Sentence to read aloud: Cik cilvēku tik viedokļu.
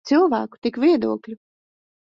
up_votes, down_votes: 0, 3